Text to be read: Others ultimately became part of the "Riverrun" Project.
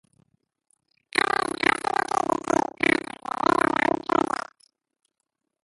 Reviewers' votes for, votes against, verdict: 0, 2, rejected